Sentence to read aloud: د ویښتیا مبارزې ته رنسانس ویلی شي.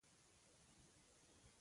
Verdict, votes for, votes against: rejected, 0, 2